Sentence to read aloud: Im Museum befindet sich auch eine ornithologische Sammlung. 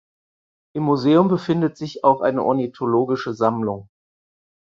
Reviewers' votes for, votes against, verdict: 4, 0, accepted